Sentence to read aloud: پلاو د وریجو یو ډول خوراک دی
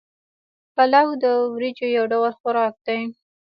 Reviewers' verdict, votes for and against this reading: rejected, 1, 2